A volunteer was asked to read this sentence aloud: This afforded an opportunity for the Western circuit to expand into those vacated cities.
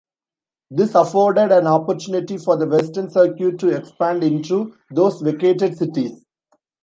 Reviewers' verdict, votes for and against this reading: accepted, 2, 0